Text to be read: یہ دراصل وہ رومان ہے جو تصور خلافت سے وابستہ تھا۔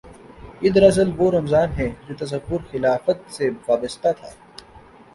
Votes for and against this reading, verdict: 1, 2, rejected